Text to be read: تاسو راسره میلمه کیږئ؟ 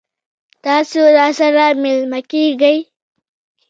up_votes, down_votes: 1, 2